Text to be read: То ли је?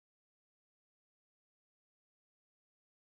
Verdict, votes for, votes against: rejected, 0, 2